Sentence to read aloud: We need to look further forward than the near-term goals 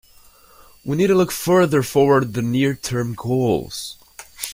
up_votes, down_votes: 0, 2